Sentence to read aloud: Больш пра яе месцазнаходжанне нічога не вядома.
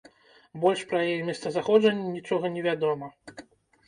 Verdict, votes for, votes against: rejected, 1, 2